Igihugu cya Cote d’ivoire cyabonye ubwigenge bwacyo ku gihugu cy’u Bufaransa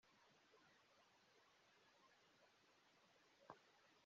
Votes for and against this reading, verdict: 0, 3, rejected